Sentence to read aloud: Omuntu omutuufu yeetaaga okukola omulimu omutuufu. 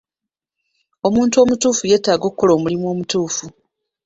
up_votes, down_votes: 2, 1